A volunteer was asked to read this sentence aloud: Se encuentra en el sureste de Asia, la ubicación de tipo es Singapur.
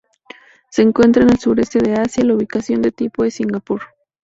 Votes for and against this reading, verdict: 0, 2, rejected